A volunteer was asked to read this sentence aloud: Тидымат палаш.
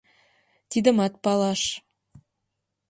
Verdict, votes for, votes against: accepted, 2, 0